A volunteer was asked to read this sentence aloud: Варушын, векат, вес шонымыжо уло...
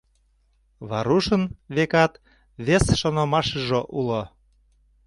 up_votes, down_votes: 0, 2